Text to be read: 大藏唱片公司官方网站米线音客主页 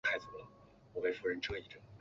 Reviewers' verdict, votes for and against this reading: rejected, 0, 2